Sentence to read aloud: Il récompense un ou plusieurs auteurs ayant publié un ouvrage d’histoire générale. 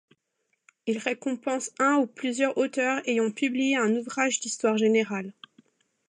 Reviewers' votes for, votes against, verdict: 2, 0, accepted